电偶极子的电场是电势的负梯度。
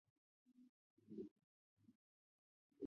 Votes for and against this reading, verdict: 1, 2, rejected